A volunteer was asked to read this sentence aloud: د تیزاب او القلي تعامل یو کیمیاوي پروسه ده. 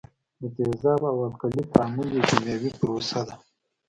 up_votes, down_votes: 2, 1